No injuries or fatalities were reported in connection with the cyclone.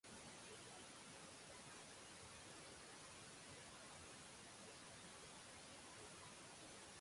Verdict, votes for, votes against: rejected, 0, 2